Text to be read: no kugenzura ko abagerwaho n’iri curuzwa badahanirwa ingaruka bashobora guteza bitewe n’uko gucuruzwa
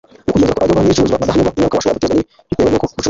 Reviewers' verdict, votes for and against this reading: rejected, 0, 2